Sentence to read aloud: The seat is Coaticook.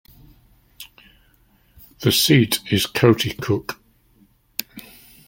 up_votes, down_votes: 2, 0